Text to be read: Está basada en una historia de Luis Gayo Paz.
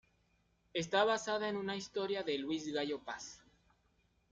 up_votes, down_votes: 0, 2